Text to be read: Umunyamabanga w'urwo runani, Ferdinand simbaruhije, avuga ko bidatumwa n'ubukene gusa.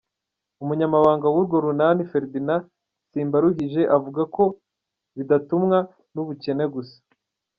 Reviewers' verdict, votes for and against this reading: accepted, 2, 0